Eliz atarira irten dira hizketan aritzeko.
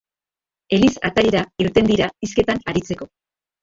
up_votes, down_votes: 1, 4